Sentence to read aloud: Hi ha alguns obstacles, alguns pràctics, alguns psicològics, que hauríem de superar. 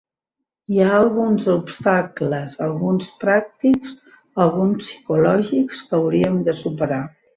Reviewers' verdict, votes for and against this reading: accepted, 3, 0